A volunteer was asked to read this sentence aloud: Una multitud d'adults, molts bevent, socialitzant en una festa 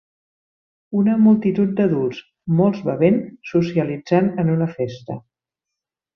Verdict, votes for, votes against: accepted, 3, 1